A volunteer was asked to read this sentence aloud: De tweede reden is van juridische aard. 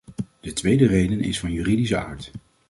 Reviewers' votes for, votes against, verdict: 2, 0, accepted